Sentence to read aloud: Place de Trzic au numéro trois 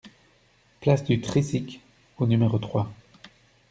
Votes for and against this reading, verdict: 1, 2, rejected